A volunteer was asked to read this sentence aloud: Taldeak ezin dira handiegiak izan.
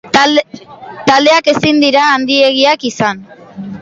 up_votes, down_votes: 0, 2